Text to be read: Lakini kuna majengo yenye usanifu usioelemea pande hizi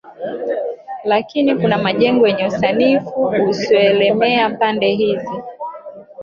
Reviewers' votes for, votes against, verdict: 1, 2, rejected